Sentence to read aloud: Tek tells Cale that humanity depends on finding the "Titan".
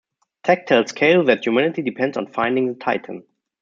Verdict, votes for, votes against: rejected, 1, 2